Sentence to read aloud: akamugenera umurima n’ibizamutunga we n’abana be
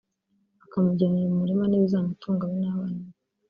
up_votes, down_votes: 1, 2